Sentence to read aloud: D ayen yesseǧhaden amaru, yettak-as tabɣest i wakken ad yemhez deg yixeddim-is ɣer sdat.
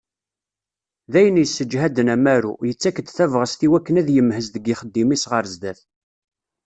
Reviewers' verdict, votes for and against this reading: rejected, 1, 2